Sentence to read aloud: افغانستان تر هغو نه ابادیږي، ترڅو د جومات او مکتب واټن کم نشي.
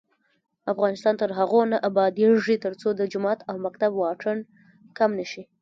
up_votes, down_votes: 1, 3